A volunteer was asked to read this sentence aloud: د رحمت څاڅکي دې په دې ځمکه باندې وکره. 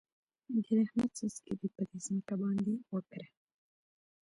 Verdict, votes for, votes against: rejected, 1, 2